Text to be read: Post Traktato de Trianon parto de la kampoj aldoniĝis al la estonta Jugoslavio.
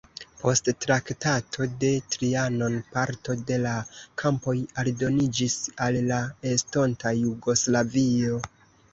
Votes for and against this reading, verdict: 0, 2, rejected